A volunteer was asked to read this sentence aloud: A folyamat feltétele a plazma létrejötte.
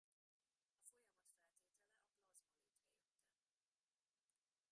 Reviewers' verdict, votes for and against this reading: rejected, 0, 2